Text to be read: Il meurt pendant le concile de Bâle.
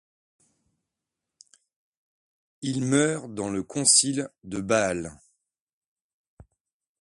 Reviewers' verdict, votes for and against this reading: rejected, 1, 2